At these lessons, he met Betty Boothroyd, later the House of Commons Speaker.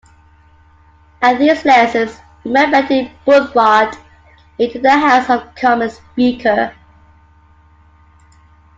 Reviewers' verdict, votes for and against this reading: rejected, 0, 2